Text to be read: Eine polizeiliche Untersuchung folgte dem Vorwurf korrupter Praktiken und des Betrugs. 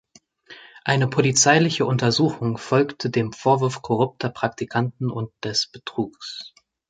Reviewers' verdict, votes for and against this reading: rejected, 0, 2